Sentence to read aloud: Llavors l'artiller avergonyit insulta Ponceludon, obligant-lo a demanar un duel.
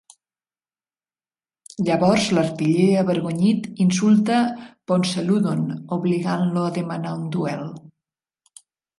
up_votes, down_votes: 2, 0